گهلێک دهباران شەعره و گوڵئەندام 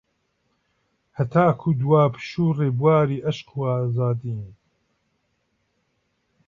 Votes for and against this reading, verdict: 0, 2, rejected